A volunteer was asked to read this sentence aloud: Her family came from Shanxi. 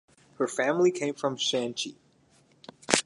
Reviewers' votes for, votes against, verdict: 2, 2, rejected